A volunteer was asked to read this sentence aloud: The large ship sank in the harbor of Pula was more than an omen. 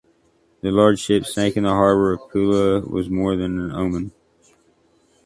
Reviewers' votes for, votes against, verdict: 2, 1, accepted